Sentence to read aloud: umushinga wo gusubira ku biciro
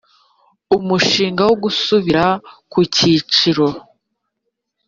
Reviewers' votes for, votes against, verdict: 1, 2, rejected